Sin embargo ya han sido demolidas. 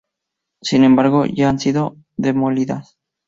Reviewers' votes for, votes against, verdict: 2, 0, accepted